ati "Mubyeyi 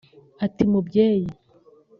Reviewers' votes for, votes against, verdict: 2, 0, accepted